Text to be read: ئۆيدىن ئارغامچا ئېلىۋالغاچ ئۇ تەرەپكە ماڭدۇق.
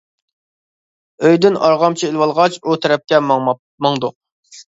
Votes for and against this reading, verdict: 1, 2, rejected